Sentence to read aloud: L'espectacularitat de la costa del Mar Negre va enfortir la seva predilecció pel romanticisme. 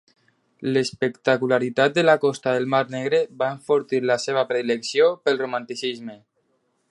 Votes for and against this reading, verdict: 2, 0, accepted